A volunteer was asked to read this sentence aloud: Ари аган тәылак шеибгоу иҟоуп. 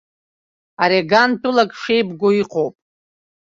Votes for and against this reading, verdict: 2, 0, accepted